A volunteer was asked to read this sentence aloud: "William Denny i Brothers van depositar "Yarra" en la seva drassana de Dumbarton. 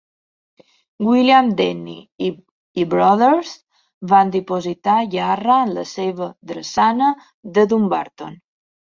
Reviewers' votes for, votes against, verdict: 1, 2, rejected